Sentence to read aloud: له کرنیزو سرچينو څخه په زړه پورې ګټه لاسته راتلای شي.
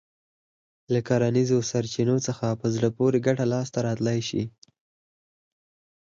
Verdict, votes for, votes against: accepted, 4, 0